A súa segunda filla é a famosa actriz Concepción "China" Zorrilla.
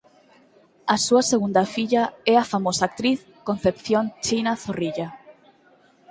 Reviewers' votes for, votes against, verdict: 4, 0, accepted